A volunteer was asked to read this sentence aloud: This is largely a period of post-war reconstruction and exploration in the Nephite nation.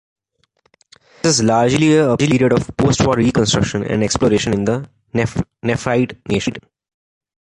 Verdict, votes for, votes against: rejected, 1, 2